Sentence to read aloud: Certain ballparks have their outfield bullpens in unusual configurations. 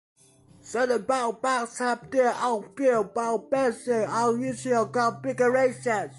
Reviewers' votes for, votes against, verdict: 1, 2, rejected